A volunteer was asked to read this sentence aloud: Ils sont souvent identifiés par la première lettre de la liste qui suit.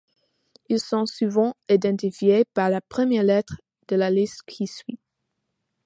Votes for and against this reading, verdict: 2, 0, accepted